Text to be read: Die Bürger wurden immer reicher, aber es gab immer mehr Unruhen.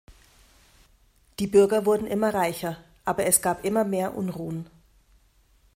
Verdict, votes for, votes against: accepted, 2, 0